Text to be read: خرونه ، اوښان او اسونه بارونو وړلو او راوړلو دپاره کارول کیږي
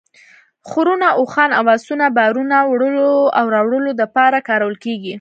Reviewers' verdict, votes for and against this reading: rejected, 1, 2